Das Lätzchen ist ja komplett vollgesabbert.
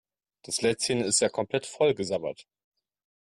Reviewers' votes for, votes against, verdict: 3, 0, accepted